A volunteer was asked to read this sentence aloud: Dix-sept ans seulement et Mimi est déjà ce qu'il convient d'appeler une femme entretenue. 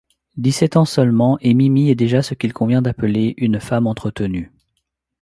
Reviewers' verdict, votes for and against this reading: accepted, 2, 0